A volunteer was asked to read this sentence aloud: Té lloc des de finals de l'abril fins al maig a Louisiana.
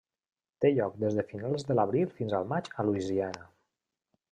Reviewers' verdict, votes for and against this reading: accepted, 3, 0